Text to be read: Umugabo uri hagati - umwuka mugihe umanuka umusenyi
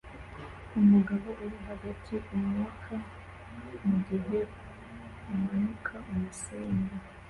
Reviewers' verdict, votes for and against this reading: accepted, 2, 1